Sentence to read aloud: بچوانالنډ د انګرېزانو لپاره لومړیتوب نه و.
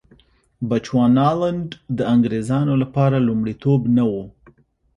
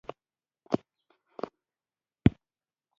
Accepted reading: first